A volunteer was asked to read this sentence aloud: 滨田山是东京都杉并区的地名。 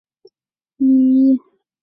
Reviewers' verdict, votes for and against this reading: rejected, 2, 5